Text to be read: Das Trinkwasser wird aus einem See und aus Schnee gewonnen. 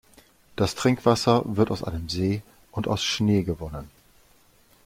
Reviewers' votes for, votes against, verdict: 2, 0, accepted